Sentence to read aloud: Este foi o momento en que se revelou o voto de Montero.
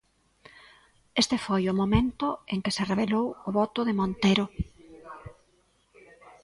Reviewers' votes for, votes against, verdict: 2, 0, accepted